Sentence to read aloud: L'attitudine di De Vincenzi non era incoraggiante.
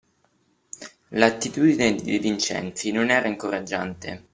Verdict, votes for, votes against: accepted, 2, 0